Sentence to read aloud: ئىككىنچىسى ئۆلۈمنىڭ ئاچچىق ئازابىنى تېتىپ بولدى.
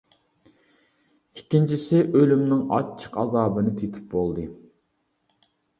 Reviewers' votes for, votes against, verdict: 2, 0, accepted